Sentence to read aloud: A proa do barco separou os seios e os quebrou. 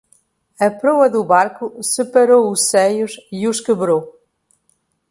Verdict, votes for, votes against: accepted, 2, 0